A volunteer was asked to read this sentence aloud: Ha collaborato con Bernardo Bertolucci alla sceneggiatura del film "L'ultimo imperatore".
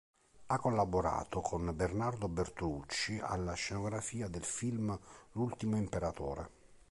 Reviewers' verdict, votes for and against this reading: rejected, 1, 2